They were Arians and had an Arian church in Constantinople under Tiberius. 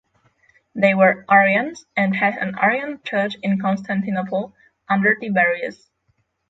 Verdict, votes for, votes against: accepted, 6, 3